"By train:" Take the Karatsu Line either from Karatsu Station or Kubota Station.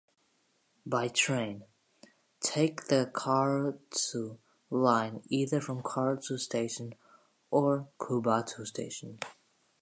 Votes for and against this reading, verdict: 2, 1, accepted